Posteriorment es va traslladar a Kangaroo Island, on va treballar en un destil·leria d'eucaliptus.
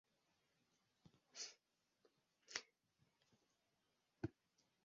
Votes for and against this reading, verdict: 0, 2, rejected